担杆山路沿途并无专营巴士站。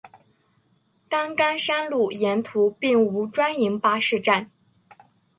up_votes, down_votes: 2, 0